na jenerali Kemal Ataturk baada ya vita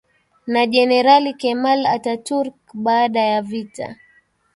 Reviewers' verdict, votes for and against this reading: accepted, 2, 0